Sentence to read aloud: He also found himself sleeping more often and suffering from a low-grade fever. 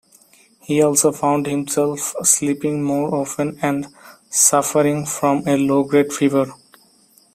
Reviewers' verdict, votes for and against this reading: accepted, 2, 0